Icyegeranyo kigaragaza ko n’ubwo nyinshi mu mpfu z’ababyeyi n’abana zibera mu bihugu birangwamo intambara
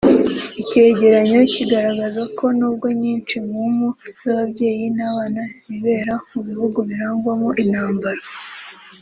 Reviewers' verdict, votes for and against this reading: rejected, 0, 2